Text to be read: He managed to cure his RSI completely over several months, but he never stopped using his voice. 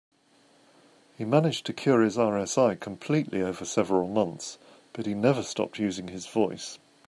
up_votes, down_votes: 2, 0